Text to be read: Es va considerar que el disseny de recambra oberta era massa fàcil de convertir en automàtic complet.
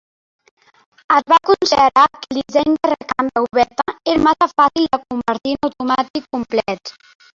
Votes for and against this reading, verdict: 0, 2, rejected